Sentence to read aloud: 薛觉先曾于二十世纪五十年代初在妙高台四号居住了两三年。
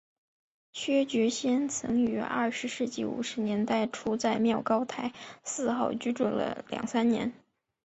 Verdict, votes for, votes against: accepted, 3, 1